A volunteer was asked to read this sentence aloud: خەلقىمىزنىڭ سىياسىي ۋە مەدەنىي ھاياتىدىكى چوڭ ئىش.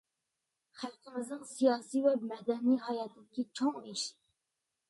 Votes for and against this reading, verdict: 2, 1, accepted